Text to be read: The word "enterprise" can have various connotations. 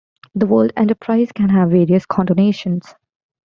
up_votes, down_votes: 0, 2